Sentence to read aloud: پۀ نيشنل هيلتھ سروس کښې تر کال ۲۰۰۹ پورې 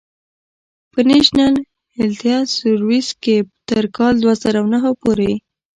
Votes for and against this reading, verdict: 0, 2, rejected